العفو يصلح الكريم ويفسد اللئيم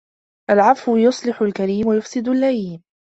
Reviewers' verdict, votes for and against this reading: accepted, 2, 0